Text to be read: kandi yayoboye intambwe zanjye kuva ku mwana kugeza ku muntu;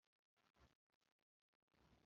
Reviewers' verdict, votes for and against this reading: rejected, 0, 2